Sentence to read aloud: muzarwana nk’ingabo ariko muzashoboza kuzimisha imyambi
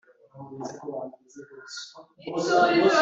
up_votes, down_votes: 0, 2